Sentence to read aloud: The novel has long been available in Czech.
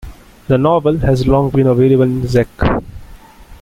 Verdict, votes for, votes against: rejected, 0, 2